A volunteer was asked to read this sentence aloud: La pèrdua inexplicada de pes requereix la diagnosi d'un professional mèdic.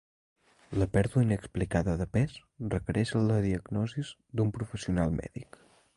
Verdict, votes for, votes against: rejected, 1, 2